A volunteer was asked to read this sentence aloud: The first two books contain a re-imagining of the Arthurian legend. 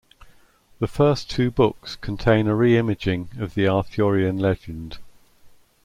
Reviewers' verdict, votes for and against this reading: rejected, 0, 2